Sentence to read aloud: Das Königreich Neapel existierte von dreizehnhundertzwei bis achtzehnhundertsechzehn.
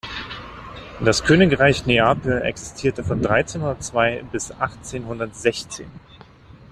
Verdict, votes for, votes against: accepted, 2, 0